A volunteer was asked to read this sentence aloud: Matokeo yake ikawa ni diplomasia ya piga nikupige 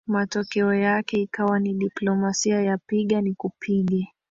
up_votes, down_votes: 1, 2